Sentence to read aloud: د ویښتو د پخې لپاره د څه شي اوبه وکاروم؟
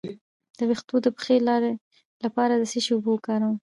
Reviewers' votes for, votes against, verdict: 1, 2, rejected